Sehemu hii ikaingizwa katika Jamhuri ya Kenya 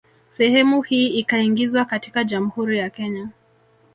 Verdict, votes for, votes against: rejected, 1, 2